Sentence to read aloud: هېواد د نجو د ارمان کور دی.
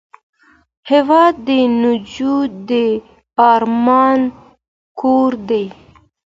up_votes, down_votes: 2, 0